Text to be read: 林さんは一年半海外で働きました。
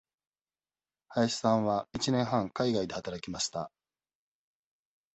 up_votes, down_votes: 2, 0